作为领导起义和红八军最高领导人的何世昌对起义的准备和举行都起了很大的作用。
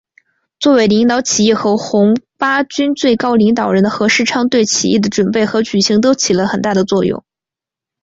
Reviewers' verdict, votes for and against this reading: accepted, 2, 0